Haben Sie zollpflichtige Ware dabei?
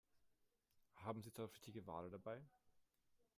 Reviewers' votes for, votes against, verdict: 1, 2, rejected